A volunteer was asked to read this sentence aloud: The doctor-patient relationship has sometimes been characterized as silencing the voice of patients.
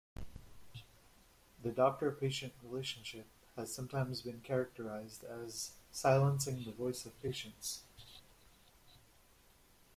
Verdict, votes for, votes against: rejected, 1, 2